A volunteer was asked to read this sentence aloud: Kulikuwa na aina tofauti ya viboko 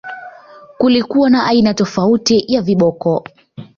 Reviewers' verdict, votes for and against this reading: accepted, 2, 0